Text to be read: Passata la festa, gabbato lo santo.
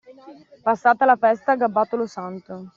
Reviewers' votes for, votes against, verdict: 2, 0, accepted